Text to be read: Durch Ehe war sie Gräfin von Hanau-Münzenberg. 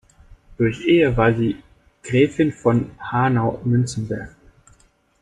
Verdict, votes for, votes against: rejected, 0, 2